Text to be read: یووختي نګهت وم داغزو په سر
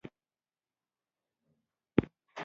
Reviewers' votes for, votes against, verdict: 1, 2, rejected